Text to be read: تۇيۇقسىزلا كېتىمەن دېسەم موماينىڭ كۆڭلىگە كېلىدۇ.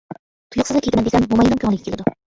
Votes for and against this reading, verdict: 0, 2, rejected